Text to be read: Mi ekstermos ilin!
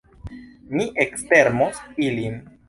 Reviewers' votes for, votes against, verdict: 2, 0, accepted